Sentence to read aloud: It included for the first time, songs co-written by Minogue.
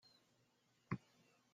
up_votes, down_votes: 0, 2